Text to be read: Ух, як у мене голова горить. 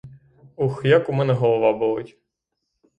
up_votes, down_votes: 0, 3